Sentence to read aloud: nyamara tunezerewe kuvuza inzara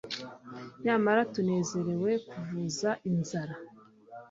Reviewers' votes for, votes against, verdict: 2, 0, accepted